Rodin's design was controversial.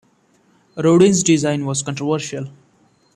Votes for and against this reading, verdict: 2, 0, accepted